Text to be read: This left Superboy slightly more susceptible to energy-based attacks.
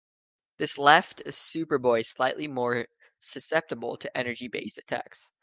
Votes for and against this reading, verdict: 2, 0, accepted